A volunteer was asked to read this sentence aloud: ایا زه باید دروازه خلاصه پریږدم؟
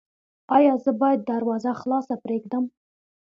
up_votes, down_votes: 2, 0